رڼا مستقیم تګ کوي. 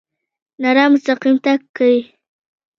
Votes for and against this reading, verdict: 3, 0, accepted